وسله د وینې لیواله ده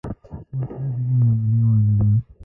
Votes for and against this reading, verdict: 1, 2, rejected